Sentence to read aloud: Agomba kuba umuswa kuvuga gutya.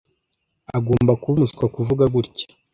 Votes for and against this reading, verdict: 2, 0, accepted